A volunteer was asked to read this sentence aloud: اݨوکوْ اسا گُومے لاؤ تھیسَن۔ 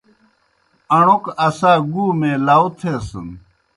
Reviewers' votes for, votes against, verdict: 2, 0, accepted